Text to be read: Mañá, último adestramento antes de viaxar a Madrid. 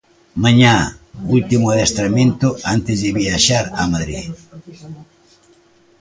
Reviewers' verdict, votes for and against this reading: accepted, 2, 1